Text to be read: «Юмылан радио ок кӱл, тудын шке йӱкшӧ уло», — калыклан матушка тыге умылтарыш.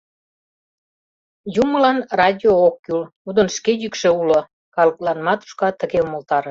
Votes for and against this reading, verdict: 0, 2, rejected